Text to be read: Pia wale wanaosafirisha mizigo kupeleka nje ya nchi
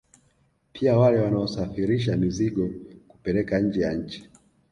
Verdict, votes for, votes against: accepted, 2, 1